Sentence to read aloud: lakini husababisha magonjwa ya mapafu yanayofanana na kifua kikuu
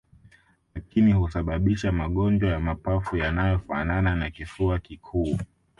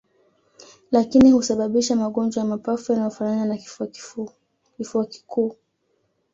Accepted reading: first